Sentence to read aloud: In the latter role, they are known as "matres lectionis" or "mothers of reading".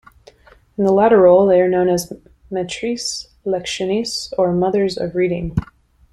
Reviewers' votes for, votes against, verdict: 1, 2, rejected